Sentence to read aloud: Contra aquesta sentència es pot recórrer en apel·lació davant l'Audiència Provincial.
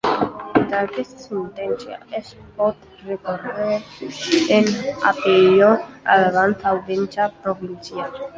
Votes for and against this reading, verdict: 0, 2, rejected